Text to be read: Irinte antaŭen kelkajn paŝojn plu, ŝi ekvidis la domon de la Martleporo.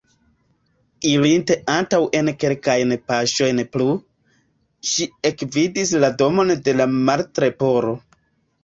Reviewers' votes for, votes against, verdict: 2, 1, accepted